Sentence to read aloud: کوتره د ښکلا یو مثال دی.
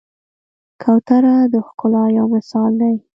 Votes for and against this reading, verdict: 3, 0, accepted